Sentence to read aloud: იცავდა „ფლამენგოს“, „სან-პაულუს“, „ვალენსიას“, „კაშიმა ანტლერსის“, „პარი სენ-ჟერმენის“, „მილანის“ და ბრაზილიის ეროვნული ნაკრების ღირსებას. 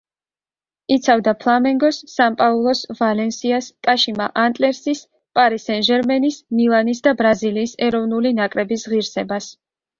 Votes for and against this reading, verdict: 3, 0, accepted